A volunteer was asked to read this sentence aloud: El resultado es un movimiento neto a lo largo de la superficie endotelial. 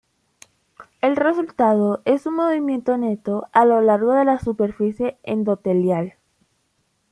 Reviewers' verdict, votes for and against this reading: accepted, 2, 1